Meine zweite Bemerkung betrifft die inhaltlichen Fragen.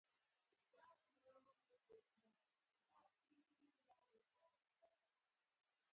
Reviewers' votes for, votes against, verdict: 0, 4, rejected